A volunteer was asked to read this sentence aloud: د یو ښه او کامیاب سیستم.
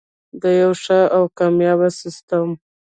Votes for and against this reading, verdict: 2, 1, accepted